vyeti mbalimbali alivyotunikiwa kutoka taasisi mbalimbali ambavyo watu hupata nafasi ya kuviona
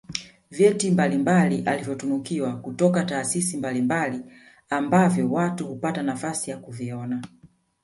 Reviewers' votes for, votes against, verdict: 2, 0, accepted